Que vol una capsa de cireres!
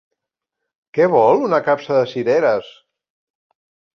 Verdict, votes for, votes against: rejected, 1, 2